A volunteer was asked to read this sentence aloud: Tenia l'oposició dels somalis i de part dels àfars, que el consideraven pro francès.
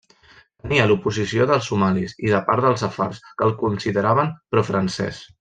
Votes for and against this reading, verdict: 1, 2, rejected